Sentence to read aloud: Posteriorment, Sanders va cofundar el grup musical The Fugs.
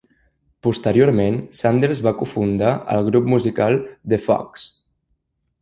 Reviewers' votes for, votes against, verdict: 1, 2, rejected